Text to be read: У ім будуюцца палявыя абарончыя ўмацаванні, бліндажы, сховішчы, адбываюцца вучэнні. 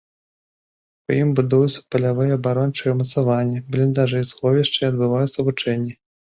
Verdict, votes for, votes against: accepted, 2, 0